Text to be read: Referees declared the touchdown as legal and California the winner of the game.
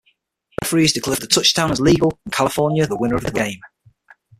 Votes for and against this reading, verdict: 0, 6, rejected